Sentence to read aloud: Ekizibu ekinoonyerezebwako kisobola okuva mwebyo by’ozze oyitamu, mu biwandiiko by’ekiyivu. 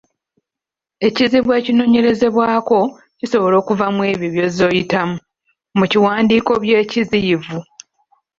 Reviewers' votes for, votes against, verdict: 1, 2, rejected